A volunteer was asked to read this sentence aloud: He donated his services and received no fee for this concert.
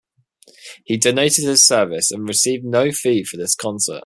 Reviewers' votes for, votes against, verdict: 2, 0, accepted